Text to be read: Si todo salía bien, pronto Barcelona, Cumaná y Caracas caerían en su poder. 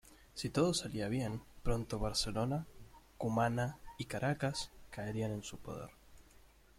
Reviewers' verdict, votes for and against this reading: accepted, 2, 1